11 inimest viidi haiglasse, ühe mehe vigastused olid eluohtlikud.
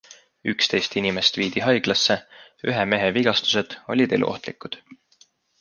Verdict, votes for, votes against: rejected, 0, 2